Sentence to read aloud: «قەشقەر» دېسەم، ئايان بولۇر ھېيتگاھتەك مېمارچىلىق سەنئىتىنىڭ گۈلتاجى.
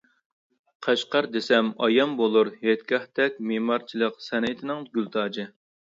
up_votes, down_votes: 2, 0